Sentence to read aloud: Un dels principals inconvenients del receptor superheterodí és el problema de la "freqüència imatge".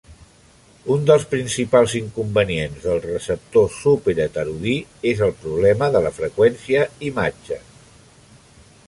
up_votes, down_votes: 2, 0